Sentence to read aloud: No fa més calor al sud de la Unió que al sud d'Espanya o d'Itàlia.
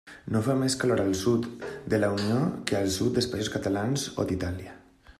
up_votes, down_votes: 0, 2